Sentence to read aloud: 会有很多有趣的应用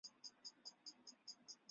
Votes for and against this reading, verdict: 0, 2, rejected